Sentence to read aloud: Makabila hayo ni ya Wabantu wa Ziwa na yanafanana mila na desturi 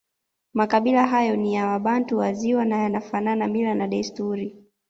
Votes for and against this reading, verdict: 2, 0, accepted